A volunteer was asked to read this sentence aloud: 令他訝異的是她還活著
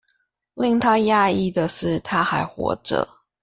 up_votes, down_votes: 1, 2